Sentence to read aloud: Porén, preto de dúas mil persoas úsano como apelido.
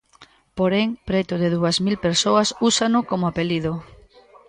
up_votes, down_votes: 2, 0